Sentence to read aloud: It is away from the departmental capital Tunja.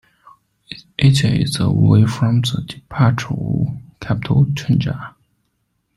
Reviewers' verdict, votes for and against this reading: rejected, 0, 2